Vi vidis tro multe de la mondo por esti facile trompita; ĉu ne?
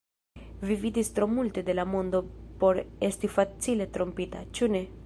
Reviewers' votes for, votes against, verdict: 2, 0, accepted